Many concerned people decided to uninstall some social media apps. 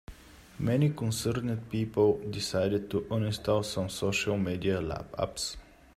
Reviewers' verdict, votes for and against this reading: rejected, 1, 2